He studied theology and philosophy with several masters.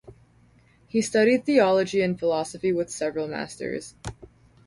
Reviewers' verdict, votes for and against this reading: rejected, 2, 2